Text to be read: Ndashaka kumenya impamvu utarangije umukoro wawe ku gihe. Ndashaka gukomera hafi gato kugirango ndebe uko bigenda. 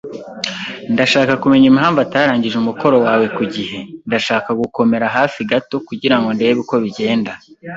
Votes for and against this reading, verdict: 0, 2, rejected